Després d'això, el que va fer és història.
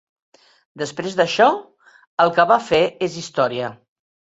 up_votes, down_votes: 3, 0